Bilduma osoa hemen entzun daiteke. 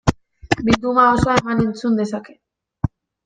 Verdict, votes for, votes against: rejected, 0, 2